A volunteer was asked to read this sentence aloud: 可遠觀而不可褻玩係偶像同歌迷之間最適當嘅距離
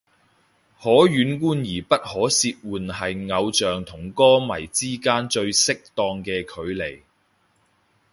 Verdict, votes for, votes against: accepted, 2, 0